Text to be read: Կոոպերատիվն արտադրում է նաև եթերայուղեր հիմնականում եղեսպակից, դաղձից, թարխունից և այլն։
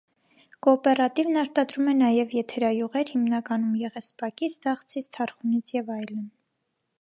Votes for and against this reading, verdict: 2, 0, accepted